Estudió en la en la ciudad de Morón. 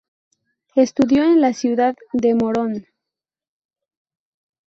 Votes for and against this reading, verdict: 2, 2, rejected